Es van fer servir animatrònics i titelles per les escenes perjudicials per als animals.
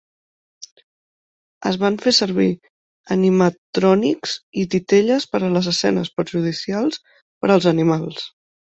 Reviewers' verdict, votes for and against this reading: rejected, 1, 2